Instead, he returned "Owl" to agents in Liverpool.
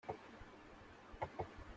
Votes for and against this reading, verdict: 0, 2, rejected